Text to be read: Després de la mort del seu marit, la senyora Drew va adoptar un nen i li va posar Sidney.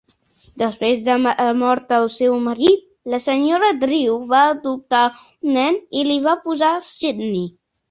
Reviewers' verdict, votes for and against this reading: rejected, 2, 3